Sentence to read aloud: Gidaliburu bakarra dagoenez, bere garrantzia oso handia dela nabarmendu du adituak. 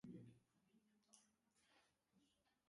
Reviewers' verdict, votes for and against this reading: rejected, 0, 4